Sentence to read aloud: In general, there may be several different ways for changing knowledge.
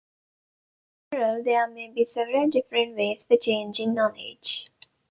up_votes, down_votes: 0, 2